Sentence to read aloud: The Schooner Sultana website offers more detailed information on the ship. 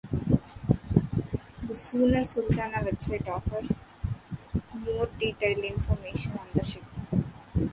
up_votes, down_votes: 1, 2